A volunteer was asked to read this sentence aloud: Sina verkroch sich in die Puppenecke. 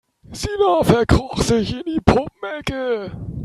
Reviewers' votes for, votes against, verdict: 0, 3, rejected